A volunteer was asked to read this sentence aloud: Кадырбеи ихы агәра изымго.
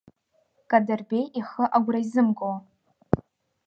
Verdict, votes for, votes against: accepted, 3, 0